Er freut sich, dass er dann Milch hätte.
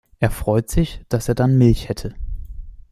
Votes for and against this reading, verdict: 2, 0, accepted